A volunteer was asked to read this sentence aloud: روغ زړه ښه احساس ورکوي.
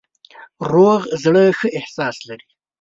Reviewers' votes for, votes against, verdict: 0, 2, rejected